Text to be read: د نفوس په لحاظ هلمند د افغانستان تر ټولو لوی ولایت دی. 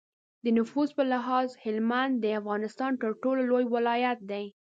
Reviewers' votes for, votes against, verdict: 2, 0, accepted